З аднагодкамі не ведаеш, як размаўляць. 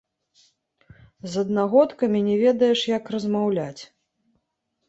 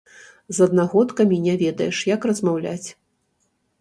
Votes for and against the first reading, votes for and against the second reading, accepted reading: 2, 0, 1, 2, first